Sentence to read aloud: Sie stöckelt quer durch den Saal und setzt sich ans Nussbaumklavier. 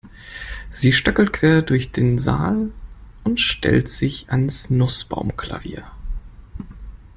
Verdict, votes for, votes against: rejected, 0, 2